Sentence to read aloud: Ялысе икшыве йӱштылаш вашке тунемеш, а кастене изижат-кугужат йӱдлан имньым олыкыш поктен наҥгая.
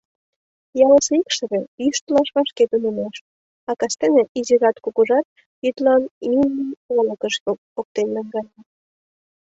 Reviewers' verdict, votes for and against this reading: rejected, 1, 2